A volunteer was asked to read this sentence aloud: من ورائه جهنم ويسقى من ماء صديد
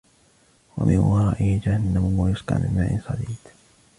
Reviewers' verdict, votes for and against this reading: rejected, 0, 2